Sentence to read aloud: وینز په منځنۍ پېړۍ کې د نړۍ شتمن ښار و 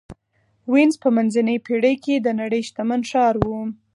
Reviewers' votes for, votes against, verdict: 4, 0, accepted